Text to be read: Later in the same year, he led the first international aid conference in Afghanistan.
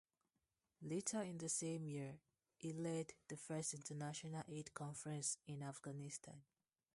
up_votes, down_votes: 0, 2